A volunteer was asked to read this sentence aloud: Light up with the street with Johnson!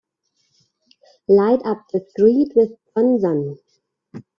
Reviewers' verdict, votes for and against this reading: rejected, 1, 3